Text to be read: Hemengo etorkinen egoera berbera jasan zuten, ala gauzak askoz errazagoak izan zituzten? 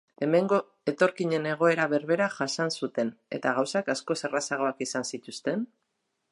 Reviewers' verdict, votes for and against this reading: rejected, 0, 2